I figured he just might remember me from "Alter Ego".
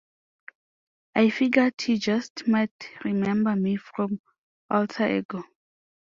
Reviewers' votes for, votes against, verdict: 2, 0, accepted